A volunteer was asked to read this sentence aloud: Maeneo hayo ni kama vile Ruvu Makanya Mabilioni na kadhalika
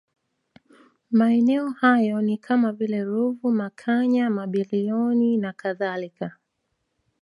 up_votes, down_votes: 2, 0